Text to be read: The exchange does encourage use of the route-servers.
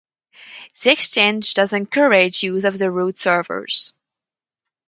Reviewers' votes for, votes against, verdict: 4, 2, accepted